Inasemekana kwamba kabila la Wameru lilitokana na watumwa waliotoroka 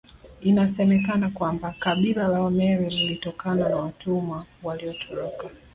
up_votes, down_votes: 2, 0